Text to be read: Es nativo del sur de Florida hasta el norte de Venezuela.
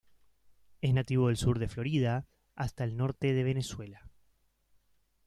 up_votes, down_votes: 2, 0